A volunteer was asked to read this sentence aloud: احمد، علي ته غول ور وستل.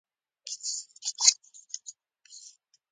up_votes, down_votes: 0, 2